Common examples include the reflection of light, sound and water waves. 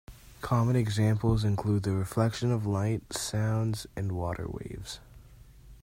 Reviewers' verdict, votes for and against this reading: accepted, 2, 1